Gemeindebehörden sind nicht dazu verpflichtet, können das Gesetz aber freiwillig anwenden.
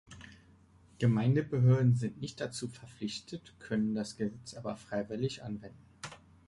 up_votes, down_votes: 3, 2